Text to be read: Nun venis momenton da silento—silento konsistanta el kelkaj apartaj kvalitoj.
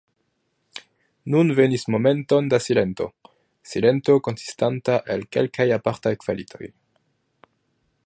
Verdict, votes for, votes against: accepted, 2, 0